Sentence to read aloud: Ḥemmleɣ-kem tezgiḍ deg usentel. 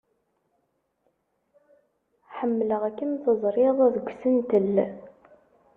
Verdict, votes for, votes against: rejected, 1, 2